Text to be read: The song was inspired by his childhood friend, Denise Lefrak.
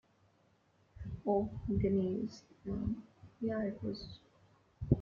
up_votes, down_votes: 0, 3